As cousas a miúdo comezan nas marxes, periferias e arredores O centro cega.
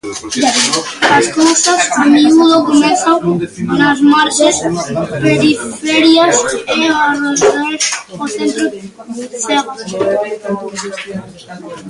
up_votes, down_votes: 0, 2